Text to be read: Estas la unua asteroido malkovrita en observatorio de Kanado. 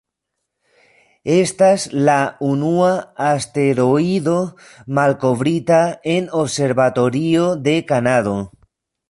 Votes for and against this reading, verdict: 2, 1, accepted